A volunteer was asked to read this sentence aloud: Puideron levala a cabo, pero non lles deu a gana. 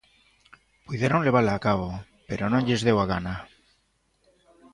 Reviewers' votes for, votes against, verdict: 2, 0, accepted